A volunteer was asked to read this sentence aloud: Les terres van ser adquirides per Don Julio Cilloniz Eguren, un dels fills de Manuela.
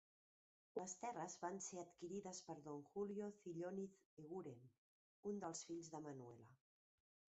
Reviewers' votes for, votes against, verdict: 2, 0, accepted